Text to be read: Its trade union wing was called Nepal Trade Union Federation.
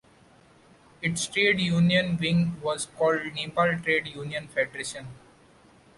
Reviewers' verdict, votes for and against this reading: rejected, 1, 2